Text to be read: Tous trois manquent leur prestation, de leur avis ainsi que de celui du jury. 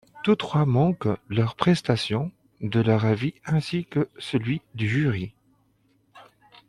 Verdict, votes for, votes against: rejected, 0, 2